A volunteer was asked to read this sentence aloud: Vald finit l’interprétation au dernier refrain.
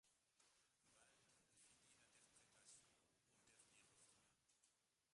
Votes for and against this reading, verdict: 0, 2, rejected